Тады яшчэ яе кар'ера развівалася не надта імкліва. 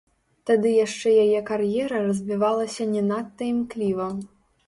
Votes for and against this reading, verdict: 0, 3, rejected